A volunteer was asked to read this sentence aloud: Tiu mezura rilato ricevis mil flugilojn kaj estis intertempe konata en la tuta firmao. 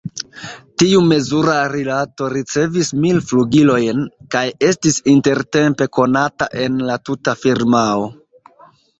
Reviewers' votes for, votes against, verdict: 1, 2, rejected